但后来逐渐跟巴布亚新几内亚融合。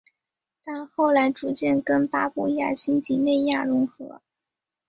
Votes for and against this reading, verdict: 5, 1, accepted